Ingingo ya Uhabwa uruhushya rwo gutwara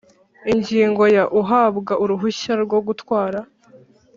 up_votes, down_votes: 3, 0